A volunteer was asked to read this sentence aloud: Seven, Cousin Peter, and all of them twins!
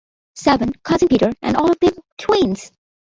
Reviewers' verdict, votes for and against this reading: accepted, 2, 0